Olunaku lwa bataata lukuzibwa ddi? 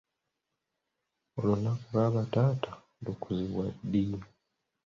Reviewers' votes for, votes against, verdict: 2, 0, accepted